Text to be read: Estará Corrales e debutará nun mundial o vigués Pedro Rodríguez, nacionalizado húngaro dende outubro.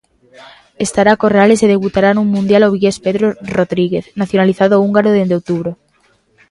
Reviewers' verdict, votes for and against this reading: accepted, 2, 0